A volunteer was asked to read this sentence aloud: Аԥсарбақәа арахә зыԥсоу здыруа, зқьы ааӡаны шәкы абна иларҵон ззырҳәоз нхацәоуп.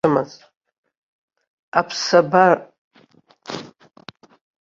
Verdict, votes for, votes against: rejected, 0, 2